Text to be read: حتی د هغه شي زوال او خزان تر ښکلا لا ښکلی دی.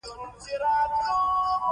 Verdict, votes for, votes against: rejected, 0, 2